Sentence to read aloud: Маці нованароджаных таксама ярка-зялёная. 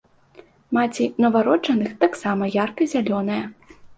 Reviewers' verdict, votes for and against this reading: accepted, 2, 1